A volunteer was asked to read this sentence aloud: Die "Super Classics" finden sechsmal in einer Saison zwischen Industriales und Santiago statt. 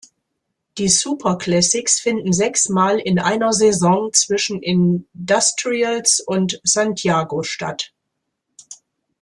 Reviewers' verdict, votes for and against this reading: rejected, 1, 2